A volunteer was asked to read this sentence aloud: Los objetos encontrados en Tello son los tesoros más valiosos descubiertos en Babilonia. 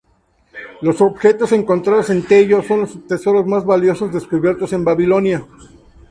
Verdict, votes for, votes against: rejected, 0, 2